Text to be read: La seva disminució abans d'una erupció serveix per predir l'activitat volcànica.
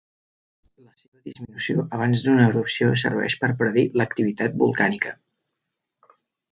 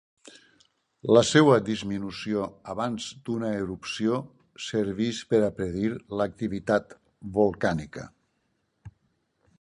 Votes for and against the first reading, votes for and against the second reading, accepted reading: 0, 2, 4, 0, second